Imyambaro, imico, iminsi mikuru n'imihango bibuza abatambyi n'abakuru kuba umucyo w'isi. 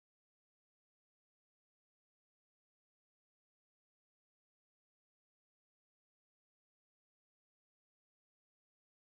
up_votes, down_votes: 1, 2